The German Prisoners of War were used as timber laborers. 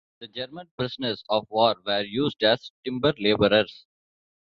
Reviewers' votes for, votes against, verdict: 2, 0, accepted